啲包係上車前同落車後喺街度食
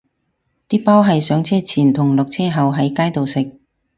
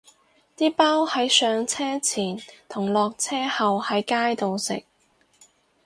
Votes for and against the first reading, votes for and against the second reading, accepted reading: 4, 0, 0, 4, first